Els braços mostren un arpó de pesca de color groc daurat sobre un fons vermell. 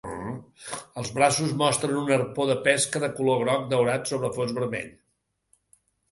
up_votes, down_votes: 2, 0